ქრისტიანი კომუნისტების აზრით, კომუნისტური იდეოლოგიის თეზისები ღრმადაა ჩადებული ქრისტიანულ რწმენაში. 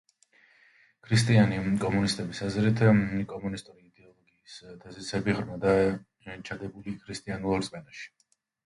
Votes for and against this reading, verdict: 0, 2, rejected